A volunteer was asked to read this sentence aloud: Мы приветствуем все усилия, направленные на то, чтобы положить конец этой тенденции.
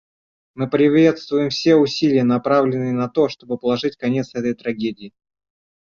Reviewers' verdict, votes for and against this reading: rejected, 0, 2